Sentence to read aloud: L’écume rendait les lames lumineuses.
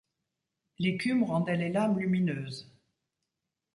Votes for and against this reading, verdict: 2, 0, accepted